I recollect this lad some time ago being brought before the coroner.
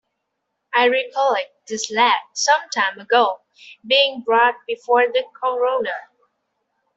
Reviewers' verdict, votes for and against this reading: rejected, 1, 2